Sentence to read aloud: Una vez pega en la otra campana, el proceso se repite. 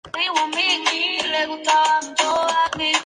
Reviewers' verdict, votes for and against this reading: rejected, 0, 2